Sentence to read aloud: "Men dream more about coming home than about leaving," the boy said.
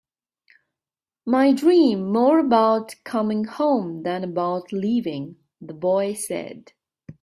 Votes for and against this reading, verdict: 0, 2, rejected